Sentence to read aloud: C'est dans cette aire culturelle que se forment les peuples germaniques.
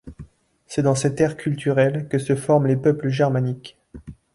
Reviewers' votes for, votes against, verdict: 2, 0, accepted